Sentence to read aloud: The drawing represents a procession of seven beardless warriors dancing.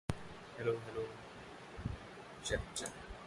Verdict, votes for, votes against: rejected, 0, 3